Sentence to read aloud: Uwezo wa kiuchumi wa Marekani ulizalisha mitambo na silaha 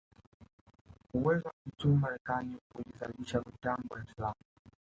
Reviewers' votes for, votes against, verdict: 1, 2, rejected